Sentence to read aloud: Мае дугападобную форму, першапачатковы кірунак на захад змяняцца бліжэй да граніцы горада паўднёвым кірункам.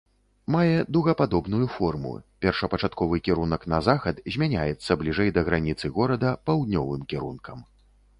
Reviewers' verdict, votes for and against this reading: accepted, 2, 0